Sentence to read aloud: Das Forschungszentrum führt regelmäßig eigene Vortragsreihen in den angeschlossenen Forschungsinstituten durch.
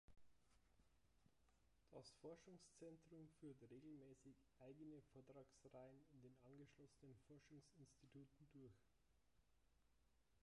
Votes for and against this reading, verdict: 0, 3, rejected